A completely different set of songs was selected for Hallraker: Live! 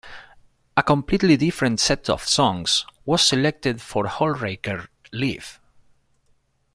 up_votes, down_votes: 0, 2